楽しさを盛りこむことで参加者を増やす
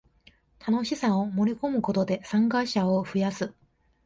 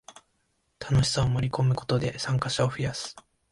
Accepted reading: second